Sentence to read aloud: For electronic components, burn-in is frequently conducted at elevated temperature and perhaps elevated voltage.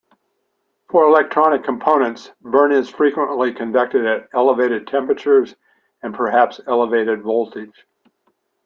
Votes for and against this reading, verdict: 1, 2, rejected